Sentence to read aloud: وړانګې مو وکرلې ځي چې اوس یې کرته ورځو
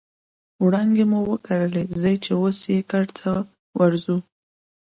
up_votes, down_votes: 2, 0